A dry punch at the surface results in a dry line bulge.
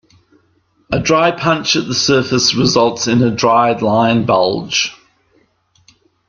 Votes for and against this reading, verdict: 2, 0, accepted